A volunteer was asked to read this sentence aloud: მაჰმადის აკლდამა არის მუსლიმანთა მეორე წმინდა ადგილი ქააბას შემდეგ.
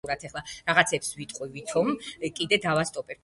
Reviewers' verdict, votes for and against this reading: rejected, 0, 2